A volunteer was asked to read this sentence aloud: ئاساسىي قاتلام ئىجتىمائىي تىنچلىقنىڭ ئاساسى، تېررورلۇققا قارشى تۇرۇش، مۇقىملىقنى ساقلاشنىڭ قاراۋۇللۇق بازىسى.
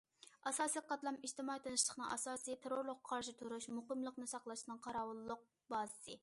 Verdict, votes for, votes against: accepted, 2, 0